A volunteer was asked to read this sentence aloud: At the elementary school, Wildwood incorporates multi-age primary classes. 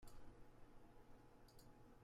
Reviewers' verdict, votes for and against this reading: rejected, 0, 2